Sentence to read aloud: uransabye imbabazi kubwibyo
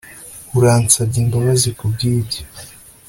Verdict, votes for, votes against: accepted, 2, 0